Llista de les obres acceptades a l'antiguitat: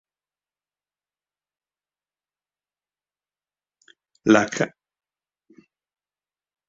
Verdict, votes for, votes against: rejected, 0, 3